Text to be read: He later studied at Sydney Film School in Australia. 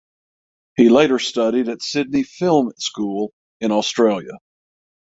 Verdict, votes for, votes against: accepted, 6, 0